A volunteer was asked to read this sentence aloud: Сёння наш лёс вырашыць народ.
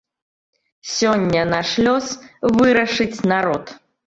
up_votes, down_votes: 2, 0